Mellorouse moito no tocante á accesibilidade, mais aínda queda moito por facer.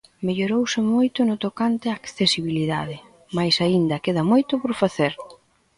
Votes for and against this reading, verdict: 2, 0, accepted